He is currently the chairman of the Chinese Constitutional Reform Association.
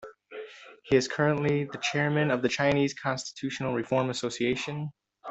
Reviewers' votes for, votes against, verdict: 2, 0, accepted